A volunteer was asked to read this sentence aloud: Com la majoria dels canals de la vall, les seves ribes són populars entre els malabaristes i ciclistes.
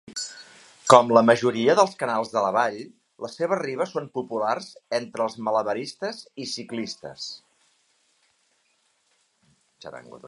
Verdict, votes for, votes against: rejected, 1, 2